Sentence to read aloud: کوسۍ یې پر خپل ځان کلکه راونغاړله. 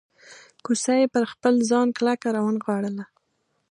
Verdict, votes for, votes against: accepted, 2, 0